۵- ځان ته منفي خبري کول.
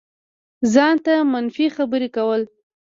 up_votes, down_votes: 0, 2